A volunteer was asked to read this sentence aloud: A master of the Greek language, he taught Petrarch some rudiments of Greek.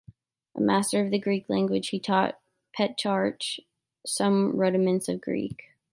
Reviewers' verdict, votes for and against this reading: rejected, 2, 3